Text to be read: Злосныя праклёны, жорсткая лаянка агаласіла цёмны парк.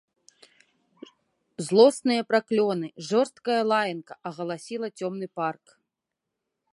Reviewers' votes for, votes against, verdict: 2, 0, accepted